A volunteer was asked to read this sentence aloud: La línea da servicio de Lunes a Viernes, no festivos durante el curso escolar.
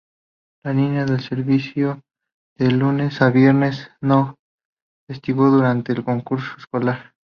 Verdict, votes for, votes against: rejected, 0, 2